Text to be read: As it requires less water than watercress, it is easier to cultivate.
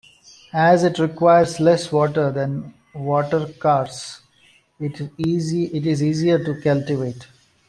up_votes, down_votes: 0, 2